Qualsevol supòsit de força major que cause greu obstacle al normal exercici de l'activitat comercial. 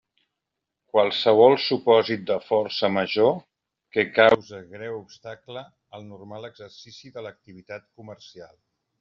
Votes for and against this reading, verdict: 0, 2, rejected